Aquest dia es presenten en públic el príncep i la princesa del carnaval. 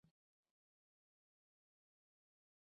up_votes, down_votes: 0, 2